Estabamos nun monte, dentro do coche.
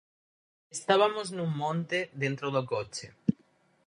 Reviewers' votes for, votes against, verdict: 0, 4, rejected